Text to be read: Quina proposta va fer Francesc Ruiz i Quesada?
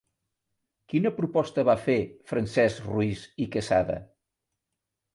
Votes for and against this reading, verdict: 2, 0, accepted